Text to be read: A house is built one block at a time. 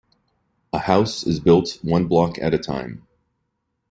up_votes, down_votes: 2, 0